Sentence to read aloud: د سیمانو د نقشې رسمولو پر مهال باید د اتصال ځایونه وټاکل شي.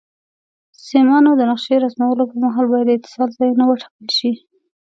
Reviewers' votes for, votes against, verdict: 1, 2, rejected